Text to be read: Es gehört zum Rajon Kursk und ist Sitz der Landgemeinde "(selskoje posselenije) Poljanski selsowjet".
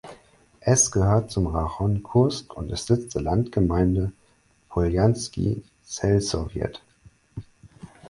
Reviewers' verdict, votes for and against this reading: rejected, 2, 4